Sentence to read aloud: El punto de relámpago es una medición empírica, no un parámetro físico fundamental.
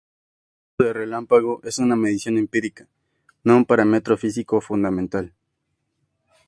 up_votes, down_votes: 2, 0